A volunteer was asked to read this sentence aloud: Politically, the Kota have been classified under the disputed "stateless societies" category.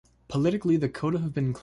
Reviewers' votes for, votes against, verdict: 0, 2, rejected